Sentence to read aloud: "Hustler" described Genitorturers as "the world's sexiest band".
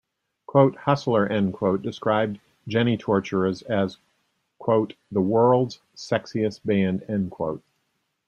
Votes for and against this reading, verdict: 0, 2, rejected